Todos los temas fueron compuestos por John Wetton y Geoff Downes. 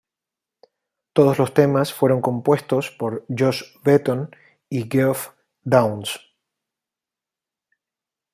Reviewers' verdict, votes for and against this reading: rejected, 0, 2